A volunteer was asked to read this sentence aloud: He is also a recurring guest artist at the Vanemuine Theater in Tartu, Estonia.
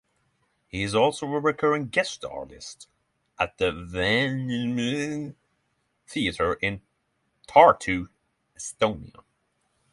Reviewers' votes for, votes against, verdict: 0, 6, rejected